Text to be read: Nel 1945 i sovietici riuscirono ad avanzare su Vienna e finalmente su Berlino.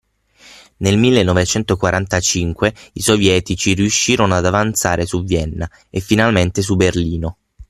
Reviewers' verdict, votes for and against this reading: rejected, 0, 2